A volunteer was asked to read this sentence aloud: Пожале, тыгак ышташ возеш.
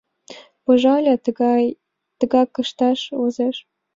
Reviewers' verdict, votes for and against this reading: rejected, 0, 2